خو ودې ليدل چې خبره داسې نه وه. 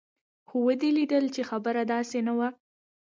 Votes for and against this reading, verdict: 2, 0, accepted